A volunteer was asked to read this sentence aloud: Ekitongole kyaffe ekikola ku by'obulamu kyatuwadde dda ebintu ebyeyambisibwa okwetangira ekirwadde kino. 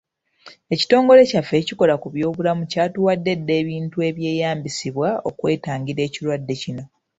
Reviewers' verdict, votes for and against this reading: accepted, 2, 1